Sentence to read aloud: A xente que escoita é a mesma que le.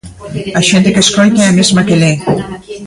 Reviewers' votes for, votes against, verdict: 0, 2, rejected